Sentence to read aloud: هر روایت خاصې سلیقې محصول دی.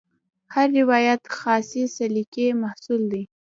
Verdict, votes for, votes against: rejected, 1, 2